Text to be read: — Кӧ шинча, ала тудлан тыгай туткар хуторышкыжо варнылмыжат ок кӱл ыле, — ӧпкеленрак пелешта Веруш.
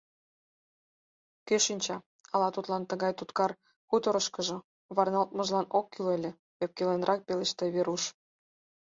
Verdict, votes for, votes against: rejected, 2, 4